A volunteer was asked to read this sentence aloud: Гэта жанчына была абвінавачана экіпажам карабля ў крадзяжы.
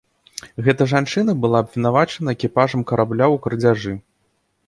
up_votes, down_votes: 2, 0